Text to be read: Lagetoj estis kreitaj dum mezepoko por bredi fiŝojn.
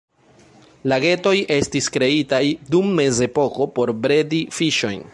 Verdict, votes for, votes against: accepted, 2, 0